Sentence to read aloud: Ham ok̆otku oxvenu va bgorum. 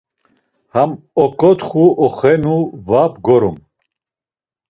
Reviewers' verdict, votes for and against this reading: rejected, 1, 2